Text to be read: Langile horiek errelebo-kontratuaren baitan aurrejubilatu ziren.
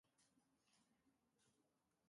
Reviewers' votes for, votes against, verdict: 0, 2, rejected